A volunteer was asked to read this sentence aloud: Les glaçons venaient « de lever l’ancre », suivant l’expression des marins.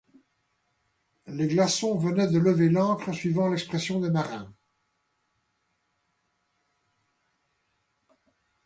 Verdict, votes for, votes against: accepted, 2, 0